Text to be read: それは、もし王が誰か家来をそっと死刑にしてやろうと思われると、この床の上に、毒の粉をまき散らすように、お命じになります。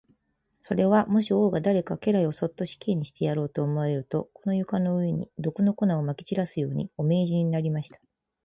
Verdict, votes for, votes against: accepted, 2, 0